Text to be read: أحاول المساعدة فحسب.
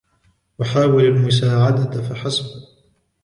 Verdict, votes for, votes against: accepted, 2, 0